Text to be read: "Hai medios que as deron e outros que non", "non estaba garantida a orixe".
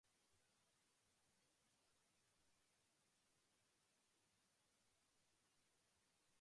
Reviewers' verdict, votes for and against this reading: rejected, 0, 2